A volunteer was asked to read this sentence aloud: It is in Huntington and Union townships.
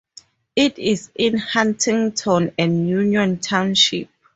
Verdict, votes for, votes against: rejected, 0, 2